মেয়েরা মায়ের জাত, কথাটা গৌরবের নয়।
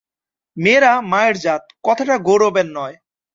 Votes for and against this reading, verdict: 2, 0, accepted